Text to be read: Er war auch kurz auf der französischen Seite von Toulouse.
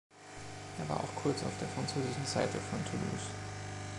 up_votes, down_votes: 2, 0